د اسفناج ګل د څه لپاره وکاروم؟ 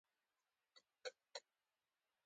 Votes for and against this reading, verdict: 0, 2, rejected